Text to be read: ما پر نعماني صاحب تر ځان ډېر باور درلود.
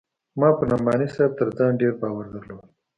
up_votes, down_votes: 2, 0